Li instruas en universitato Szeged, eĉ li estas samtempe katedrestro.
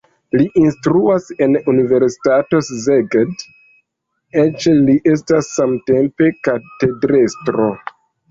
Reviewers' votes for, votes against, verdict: 2, 0, accepted